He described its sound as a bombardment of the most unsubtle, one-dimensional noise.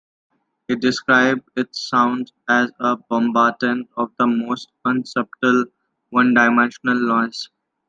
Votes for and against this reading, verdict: 2, 1, accepted